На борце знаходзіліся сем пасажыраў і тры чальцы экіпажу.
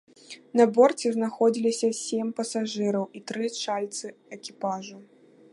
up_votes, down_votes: 0, 2